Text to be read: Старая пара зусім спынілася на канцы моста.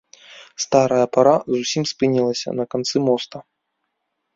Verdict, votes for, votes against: rejected, 0, 2